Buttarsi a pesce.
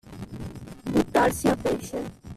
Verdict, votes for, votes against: accepted, 2, 0